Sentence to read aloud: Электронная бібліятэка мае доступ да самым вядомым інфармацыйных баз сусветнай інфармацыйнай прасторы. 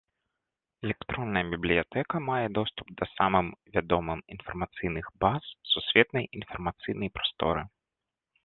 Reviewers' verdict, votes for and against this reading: accepted, 2, 1